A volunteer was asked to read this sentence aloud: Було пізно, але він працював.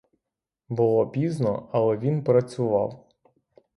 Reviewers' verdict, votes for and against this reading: accepted, 3, 0